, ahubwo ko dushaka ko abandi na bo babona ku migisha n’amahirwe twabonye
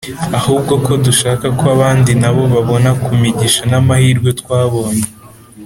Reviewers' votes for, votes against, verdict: 2, 0, accepted